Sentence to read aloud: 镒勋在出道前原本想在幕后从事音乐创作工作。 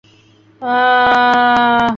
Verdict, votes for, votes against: rejected, 0, 3